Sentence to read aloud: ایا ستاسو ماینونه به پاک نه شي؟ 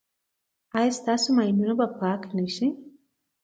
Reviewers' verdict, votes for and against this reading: accepted, 2, 0